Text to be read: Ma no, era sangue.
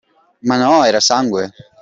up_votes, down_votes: 2, 0